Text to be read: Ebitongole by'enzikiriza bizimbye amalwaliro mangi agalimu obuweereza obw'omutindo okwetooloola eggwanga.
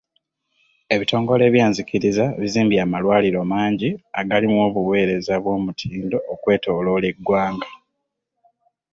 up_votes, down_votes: 2, 0